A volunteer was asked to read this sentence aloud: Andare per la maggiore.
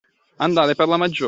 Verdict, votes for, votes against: rejected, 1, 2